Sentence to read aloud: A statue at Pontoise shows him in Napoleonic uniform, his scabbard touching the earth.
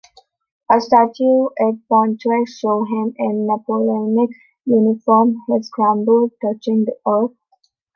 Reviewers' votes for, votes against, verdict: 0, 3, rejected